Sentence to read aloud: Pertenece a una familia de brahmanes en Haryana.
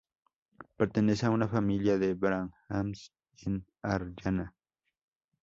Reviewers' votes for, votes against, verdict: 2, 2, rejected